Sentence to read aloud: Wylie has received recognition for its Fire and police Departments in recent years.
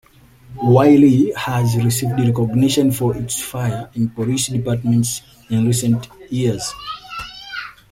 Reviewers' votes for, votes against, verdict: 2, 0, accepted